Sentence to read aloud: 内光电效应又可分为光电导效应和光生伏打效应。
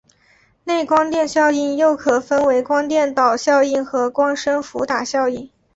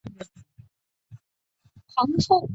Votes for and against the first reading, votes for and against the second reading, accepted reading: 2, 0, 0, 8, first